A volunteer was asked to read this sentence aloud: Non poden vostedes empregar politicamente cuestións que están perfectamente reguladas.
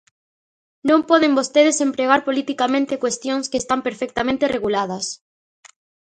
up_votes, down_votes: 2, 0